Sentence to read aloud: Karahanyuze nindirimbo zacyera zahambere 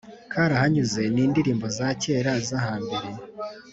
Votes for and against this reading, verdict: 3, 0, accepted